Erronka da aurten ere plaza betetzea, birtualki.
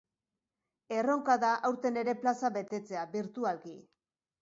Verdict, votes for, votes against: accepted, 2, 0